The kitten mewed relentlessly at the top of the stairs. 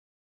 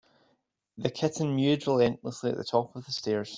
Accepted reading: second